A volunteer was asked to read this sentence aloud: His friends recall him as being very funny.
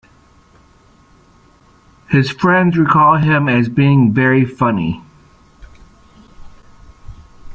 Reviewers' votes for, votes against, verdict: 2, 0, accepted